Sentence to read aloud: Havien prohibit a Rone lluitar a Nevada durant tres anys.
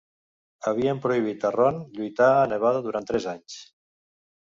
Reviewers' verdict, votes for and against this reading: accepted, 2, 0